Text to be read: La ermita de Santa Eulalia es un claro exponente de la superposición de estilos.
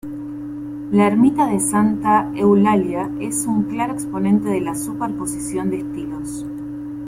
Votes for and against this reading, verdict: 2, 1, accepted